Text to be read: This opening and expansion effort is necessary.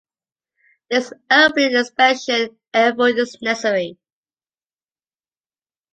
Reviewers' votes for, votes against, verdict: 1, 2, rejected